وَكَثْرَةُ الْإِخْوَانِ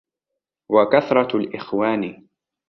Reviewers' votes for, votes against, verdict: 2, 0, accepted